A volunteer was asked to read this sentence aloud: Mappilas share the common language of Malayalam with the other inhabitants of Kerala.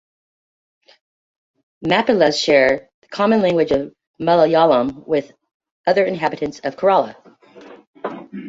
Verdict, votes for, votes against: rejected, 0, 2